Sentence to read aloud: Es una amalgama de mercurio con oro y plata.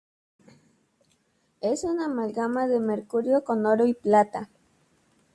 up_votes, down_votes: 2, 0